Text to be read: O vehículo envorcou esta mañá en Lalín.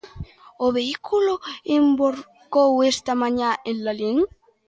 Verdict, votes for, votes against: accepted, 2, 0